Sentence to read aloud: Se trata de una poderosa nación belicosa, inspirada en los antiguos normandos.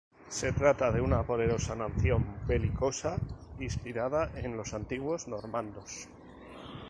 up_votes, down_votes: 2, 0